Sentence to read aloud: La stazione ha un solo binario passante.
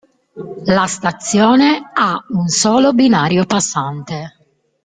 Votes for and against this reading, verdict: 3, 0, accepted